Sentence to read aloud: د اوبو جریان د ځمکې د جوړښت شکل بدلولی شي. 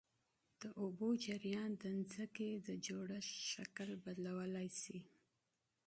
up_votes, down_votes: 2, 0